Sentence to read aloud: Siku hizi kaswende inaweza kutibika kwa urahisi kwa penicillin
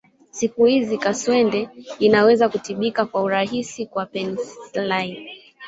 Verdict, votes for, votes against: rejected, 0, 3